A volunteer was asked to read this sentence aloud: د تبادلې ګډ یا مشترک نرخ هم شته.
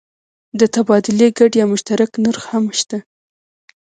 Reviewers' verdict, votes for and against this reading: accepted, 2, 0